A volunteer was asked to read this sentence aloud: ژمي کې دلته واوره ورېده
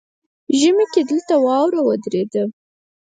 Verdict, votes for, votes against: rejected, 2, 4